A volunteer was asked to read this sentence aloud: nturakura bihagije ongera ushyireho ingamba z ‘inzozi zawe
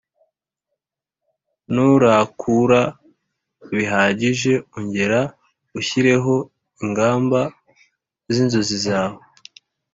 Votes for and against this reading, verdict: 1, 2, rejected